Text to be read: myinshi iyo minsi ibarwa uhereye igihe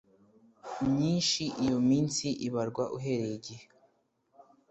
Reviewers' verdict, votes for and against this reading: accepted, 2, 0